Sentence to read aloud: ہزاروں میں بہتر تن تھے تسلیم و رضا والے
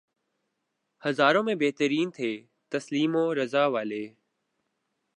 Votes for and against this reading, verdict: 1, 2, rejected